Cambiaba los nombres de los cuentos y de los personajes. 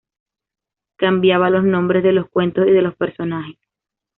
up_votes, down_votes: 2, 0